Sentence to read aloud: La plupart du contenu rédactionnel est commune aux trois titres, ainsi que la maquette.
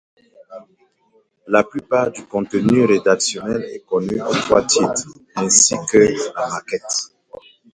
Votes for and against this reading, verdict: 0, 2, rejected